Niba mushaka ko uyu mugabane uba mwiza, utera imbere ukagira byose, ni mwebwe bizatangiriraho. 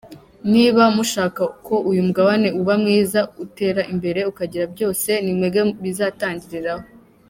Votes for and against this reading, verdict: 2, 0, accepted